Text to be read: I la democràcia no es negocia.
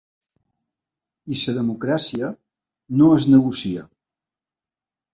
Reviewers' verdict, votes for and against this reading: rejected, 1, 2